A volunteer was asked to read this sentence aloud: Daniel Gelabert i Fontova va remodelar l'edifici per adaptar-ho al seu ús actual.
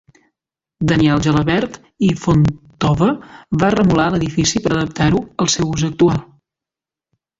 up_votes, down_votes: 1, 2